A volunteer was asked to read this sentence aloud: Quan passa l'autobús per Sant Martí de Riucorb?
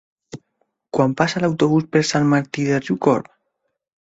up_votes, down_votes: 2, 0